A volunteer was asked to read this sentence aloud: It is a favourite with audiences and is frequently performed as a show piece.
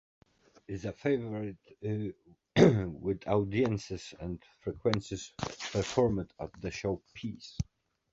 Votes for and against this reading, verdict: 1, 2, rejected